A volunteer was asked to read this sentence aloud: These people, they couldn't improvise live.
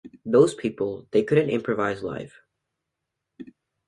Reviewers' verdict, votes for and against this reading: rejected, 0, 2